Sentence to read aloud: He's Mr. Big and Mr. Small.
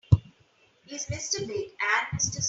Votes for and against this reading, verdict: 0, 2, rejected